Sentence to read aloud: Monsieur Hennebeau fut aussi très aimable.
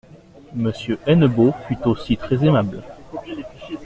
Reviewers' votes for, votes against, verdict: 2, 0, accepted